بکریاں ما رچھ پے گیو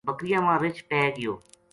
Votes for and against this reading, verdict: 2, 0, accepted